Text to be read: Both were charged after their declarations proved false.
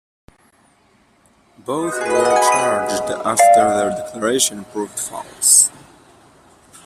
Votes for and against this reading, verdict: 0, 2, rejected